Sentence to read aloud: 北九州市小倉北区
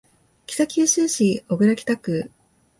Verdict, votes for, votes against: rejected, 1, 2